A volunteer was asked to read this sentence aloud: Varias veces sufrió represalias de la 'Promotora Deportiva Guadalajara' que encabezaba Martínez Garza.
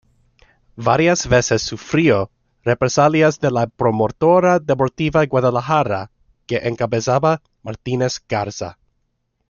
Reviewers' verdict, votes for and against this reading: accepted, 2, 0